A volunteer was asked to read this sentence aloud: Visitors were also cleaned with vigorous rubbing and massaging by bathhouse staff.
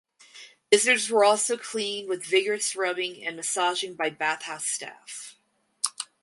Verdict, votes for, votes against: accepted, 6, 0